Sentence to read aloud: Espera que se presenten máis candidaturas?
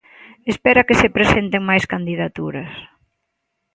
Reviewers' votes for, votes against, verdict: 3, 0, accepted